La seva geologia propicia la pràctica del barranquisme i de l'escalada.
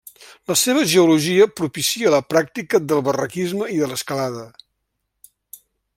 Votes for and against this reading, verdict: 1, 2, rejected